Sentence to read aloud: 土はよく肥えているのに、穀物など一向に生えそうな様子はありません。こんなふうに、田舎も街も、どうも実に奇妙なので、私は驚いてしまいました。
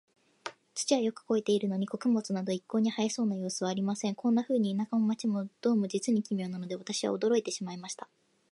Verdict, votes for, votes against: accepted, 2, 0